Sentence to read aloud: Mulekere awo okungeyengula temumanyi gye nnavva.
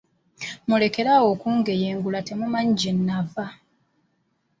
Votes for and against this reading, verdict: 2, 0, accepted